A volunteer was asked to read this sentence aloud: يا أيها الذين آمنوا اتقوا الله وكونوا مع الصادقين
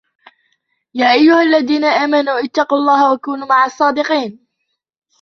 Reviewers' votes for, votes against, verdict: 2, 0, accepted